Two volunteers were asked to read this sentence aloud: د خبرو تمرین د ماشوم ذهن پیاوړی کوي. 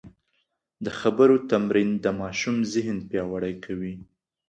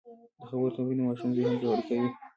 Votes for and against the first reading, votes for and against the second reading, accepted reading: 2, 0, 1, 2, first